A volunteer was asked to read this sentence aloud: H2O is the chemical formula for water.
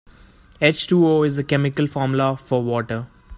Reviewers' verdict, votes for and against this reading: rejected, 0, 2